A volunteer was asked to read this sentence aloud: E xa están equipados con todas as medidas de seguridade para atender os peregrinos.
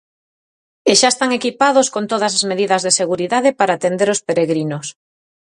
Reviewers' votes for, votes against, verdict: 4, 0, accepted